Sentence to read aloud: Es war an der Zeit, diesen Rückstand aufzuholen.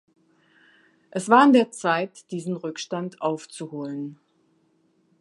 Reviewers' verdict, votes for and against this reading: accepted, 2, 0